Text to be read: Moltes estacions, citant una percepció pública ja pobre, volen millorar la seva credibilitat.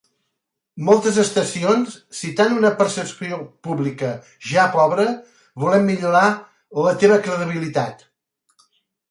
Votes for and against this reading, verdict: 1, 3, rejected